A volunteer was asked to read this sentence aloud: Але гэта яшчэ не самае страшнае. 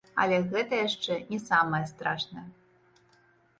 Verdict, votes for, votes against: accepted, 2, 0